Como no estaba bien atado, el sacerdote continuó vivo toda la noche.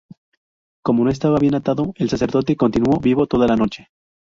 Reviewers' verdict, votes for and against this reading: accepted, 2, 0